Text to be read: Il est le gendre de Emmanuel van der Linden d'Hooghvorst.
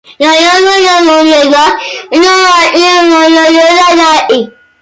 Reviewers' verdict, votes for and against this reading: rejected, 0, 2